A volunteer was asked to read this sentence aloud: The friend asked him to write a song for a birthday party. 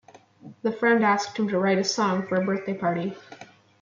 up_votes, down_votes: 2, 1